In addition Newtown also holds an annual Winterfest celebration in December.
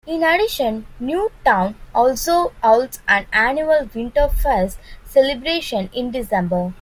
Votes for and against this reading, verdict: 2, 0, accepted